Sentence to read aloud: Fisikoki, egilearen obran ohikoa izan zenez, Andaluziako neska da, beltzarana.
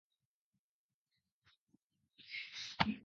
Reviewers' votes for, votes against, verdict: 0, 2, rejected